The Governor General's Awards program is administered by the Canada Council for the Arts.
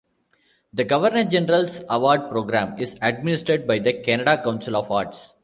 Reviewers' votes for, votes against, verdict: 0, 2, rejected